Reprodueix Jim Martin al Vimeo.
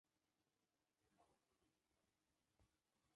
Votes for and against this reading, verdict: 0, 2, rejected